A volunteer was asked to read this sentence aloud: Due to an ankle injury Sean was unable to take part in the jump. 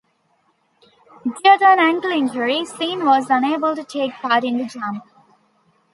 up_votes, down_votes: 2, 3